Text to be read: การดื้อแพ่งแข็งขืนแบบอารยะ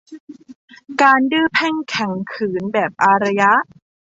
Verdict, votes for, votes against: accepted, 2, 0